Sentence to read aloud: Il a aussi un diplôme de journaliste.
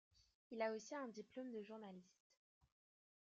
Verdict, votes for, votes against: rejected, 1, 3